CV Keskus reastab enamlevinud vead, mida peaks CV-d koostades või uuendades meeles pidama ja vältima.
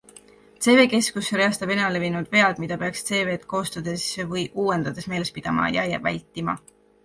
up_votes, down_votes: 0, 2